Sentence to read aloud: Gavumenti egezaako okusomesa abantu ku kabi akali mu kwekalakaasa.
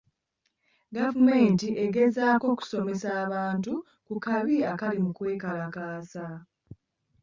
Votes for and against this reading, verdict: 1, 2, rejected